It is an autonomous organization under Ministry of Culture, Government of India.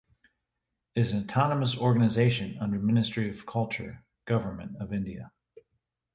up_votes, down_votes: 1, 2